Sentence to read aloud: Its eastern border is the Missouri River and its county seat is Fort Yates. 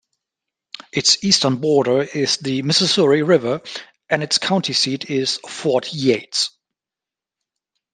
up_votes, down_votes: 0, 2